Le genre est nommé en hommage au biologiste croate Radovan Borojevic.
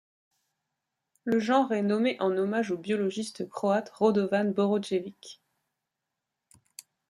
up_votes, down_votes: 1, 2